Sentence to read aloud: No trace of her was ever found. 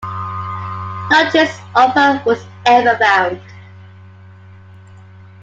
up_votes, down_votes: 2, 0